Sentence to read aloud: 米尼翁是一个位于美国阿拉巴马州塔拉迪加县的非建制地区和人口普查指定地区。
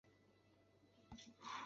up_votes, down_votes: 2, 0